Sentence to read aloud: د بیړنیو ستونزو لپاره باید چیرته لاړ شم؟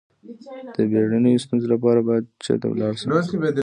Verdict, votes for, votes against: rejected, 0, 2